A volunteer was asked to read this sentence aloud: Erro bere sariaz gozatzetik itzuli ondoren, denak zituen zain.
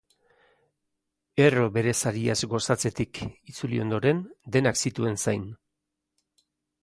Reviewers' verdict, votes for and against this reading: accepted, 3, 0